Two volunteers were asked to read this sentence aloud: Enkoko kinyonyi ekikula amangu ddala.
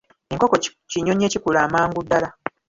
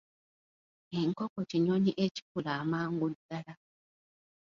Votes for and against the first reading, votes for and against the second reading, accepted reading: 1, 2, 2, 0, second